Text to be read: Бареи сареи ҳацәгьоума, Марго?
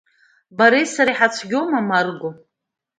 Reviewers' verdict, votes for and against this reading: accepted, 2, 0